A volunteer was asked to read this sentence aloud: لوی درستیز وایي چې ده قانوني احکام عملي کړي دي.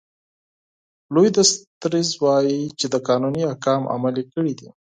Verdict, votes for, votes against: rejected, 2, 4